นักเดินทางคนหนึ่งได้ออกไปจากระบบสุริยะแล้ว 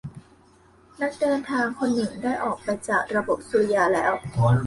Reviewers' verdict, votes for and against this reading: accepted, 2, 1